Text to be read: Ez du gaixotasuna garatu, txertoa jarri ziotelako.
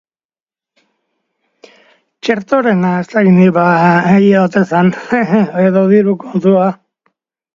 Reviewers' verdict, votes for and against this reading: rejected, 0, 2